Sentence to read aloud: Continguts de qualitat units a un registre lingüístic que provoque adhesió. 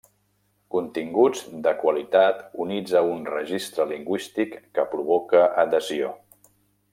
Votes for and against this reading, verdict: 1, 2, rejected